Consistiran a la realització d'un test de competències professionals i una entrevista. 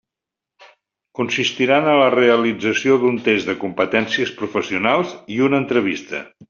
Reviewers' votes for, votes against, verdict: 2, 0, accepted